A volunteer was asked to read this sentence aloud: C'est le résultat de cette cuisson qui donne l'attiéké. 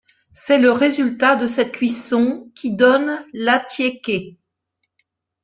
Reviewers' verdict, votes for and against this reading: accepted, 2, 0